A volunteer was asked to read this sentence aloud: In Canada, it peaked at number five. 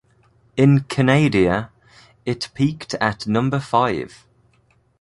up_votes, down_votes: 0, 2